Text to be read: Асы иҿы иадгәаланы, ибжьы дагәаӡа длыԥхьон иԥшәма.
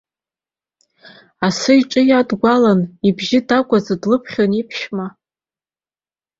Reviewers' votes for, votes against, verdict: 3, 0, accepted